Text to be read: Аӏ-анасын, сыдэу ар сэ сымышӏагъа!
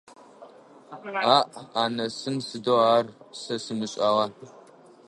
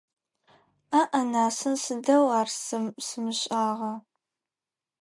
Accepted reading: second